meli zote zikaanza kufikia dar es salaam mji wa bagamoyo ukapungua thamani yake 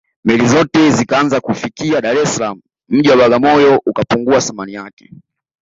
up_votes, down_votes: 2, 0